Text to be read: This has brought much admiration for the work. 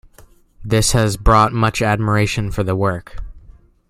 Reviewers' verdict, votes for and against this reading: accepted, 2, 0